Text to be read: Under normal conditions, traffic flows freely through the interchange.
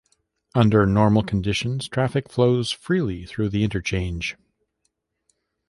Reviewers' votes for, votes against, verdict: 2, 0, accepted